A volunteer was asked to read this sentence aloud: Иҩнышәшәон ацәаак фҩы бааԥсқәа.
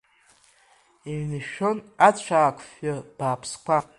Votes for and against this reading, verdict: 2, 1, accepted